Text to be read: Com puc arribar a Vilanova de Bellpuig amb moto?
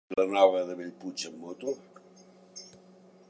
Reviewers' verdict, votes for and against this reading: rejected, 1, 2